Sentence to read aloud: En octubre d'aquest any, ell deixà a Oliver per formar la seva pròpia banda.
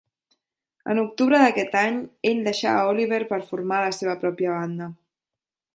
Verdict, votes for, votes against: accepted, 2, 0